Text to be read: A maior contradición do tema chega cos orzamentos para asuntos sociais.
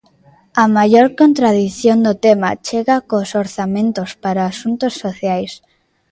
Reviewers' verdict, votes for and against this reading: rejected, 1, 2